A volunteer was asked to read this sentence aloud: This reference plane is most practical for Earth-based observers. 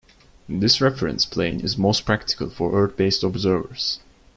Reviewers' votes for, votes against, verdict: 2, 0, accepted